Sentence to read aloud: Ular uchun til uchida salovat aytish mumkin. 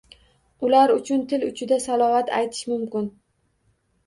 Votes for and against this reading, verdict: 2, 0, accepted